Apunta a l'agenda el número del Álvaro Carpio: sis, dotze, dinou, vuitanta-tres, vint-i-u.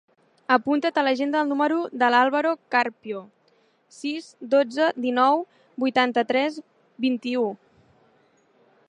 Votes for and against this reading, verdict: 1, 3, rejected